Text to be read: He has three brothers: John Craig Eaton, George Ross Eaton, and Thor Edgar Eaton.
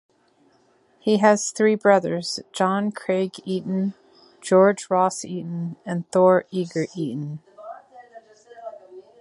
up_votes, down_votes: 0, 2